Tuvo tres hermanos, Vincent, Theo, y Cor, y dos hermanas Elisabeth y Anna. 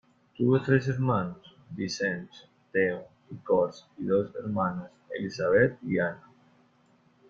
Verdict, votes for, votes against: rejected, 1, 2